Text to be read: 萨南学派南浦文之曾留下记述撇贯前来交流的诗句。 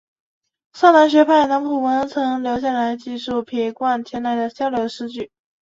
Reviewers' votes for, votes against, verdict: 4, 1, accepted